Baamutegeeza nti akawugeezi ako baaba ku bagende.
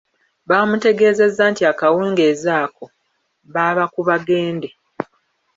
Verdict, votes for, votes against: rejected, 0, 2